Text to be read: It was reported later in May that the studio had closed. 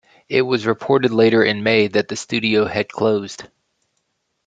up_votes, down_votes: 2, 0